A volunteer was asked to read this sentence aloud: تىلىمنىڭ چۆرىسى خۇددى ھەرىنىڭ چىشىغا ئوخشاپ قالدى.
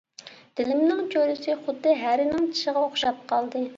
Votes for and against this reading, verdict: 1, 2, rejected